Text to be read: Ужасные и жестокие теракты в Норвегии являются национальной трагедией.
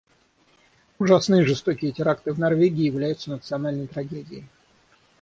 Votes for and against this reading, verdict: 6, 0, accepted